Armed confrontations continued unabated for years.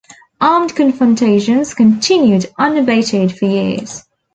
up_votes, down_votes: 2, 0